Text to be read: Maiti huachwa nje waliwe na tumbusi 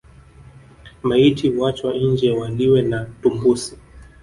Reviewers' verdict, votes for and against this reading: rejected, 0, 2